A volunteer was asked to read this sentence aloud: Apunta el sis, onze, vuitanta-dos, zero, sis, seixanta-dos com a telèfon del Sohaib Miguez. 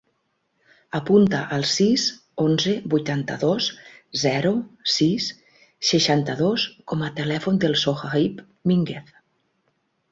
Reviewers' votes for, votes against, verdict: 2, 4, rejected